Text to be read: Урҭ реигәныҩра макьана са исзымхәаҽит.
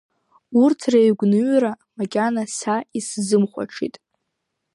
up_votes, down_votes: 2, 0